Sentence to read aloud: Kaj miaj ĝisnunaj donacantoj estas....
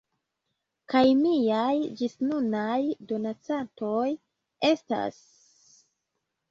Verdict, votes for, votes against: rejected, 0, 2